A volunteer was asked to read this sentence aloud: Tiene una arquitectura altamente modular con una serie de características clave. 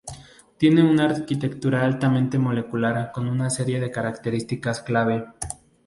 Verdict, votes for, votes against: rejected, 0, 2